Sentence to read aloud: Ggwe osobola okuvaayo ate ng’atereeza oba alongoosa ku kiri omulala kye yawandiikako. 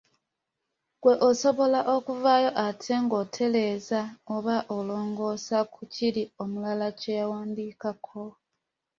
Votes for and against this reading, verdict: 1, 2, rejected